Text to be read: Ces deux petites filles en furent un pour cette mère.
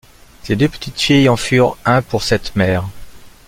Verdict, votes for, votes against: accepted, 2, 0